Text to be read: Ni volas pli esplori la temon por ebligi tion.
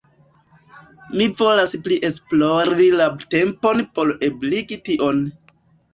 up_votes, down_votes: 0, 2